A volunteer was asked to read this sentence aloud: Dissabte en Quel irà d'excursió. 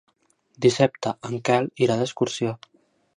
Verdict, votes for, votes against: accepted, 2, 0